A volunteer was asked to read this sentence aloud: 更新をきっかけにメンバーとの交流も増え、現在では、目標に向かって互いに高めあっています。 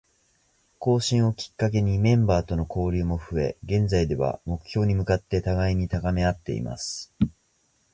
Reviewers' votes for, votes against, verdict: 2, 0, accepted